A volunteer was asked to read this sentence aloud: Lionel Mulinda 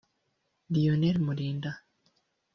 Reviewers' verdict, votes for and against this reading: rejected, 0, 2